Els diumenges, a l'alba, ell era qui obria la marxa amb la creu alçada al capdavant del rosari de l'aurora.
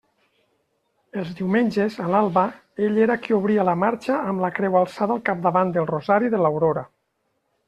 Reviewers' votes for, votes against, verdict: 2, 0, accepted